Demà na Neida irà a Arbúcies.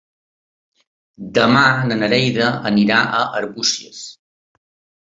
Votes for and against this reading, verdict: 1, 2, rejected